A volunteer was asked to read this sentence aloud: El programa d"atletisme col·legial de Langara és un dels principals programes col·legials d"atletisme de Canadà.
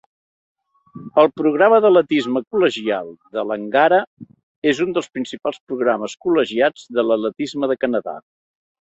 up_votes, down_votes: 1, 2